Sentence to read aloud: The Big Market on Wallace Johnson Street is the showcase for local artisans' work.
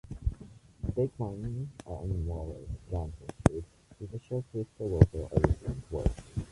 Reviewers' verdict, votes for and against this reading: rejected, 0, 2